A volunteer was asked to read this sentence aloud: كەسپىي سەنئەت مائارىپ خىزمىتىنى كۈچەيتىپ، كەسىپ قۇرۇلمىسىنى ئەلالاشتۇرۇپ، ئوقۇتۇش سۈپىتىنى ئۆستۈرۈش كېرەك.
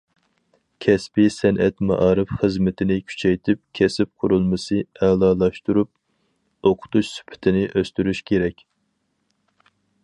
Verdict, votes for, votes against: rejected, 2, 2